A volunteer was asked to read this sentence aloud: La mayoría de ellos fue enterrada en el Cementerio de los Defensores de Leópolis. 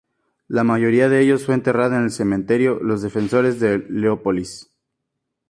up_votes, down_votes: 2, 0